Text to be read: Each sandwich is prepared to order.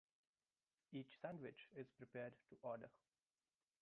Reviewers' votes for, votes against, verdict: 1, 2, rejected